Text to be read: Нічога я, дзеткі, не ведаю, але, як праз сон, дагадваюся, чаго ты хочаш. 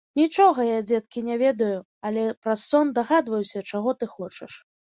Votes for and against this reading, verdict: 0, 2, rejected